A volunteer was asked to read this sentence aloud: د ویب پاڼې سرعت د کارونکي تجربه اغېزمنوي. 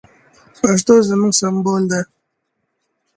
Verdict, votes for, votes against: rejected, 1, 2